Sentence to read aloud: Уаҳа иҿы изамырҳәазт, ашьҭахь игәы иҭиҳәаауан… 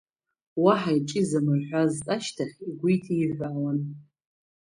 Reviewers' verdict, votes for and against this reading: accepted, 2, 1